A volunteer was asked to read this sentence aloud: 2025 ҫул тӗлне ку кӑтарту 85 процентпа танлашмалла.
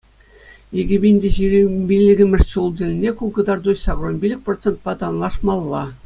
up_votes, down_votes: 0, 2